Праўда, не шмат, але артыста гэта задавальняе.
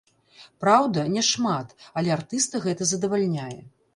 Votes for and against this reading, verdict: 1, 2, rejected